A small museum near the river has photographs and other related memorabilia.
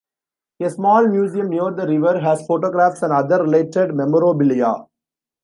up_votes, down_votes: 2, 1